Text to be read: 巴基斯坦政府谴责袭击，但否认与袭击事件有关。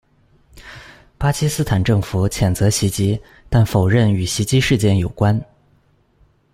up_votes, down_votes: 2, 0